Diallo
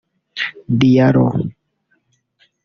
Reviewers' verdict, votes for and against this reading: rejected, 0, 2